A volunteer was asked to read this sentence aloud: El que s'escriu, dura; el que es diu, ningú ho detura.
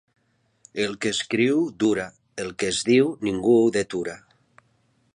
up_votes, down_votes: 1, 2